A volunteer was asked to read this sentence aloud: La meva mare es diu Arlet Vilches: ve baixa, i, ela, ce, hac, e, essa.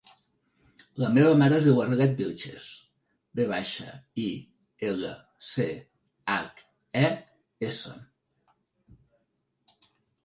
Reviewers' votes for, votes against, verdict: 2, 1, accepted